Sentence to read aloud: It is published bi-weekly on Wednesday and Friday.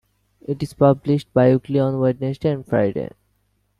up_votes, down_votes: 2, 0